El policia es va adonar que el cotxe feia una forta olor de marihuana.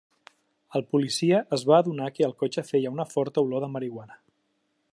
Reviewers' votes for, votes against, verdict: 3, 0, accepted